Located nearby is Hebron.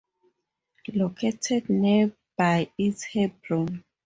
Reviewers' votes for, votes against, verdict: 2, 0, accepted